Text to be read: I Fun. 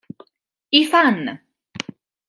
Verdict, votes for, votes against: rejected, 1, 2